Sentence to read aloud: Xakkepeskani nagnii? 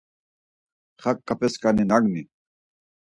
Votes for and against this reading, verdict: 2, 4, rejected